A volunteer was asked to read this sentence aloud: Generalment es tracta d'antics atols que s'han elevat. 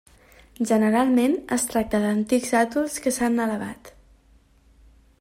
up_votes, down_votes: 0, 2